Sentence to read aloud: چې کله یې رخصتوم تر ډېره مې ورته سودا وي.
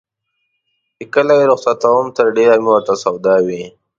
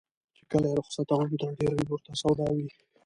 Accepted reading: first